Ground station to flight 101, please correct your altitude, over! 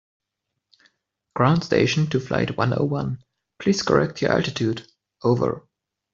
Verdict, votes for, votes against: rejected, 0, 2